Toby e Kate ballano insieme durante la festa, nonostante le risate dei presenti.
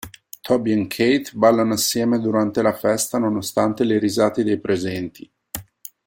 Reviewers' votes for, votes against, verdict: 2, 1, accepted